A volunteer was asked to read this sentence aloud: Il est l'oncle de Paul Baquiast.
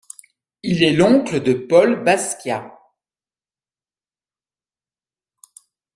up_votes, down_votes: 1, 2